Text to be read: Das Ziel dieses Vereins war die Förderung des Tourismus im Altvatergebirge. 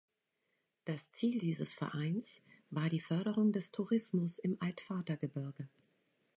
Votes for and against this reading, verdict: 2, 0, accepted